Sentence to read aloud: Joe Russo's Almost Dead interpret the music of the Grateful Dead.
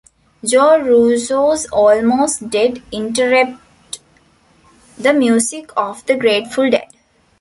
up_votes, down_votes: 0, 2